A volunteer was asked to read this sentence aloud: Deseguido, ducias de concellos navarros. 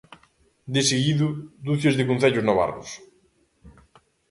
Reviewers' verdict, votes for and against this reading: accepted, 2, 0